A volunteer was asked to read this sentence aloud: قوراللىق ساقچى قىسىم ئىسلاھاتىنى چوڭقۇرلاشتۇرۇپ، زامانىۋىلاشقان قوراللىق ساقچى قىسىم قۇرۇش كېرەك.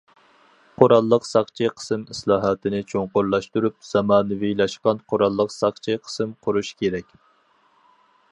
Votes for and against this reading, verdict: 4, 0, accepted